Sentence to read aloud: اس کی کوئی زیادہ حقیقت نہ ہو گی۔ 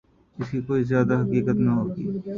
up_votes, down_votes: 1, 2